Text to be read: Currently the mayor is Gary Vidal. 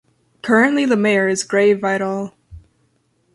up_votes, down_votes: 0, 2